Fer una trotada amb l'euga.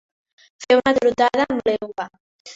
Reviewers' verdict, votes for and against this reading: accepted, 2, 0